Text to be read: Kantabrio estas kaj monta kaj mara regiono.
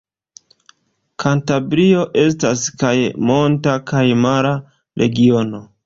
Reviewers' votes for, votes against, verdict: 2, 0, accepted